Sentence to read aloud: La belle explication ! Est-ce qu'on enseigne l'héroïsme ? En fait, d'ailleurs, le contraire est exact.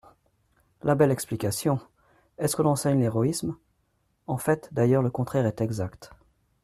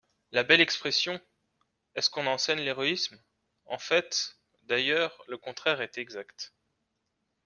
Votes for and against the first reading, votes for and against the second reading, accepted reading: 2, 0, 1, 2, first